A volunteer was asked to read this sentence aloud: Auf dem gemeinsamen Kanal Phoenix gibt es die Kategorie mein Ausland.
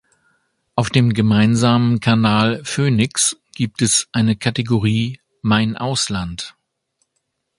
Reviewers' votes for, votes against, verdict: 0, 2, rejected